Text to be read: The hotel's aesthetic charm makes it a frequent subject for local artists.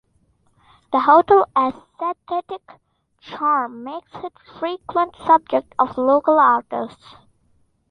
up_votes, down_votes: 0, 2